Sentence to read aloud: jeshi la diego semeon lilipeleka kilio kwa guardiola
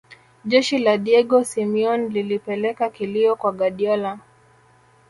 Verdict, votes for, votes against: accepted, 2, 0